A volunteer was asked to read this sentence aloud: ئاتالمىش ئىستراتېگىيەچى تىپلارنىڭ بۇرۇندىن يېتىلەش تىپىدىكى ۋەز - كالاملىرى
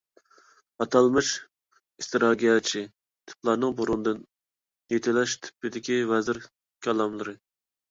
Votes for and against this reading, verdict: 0, 2, rejected